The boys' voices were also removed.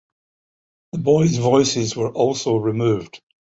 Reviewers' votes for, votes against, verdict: 2, 0, accepted